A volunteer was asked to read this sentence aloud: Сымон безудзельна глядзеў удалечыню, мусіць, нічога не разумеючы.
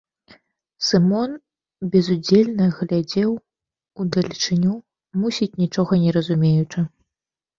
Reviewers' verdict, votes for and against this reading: accepted, 2, 0